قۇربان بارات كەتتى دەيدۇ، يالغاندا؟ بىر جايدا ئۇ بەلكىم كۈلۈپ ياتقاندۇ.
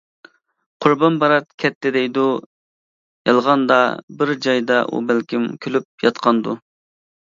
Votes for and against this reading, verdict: 2, 0, accepted